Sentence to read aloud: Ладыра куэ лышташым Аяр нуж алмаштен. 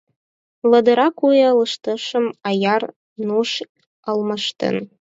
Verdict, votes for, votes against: accepted, 4, 0